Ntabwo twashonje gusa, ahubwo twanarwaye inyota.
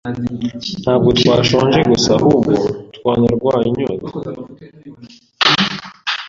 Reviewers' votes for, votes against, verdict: 0, 2, rejected